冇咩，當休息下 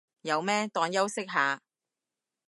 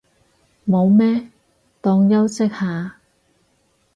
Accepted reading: second